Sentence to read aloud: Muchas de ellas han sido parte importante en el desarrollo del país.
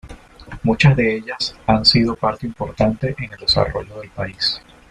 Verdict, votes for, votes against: accepted, 2, 0